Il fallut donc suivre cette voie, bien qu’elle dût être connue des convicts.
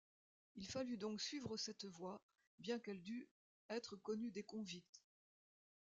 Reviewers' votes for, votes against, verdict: 0, 2, rejected